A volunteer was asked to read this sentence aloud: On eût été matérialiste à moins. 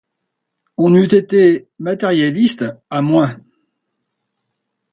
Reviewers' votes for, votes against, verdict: 2, 0, accepted